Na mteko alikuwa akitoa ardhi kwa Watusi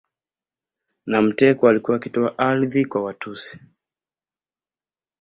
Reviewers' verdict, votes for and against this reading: accepted, 2, 0